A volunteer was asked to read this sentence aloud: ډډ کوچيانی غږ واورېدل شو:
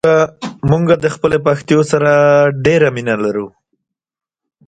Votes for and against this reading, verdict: 0, 2, rejected